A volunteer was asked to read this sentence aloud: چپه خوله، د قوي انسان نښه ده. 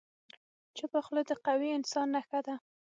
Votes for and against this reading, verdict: 6, 0, accepted